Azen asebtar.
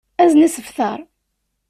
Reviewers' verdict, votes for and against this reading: accepted, 2, 0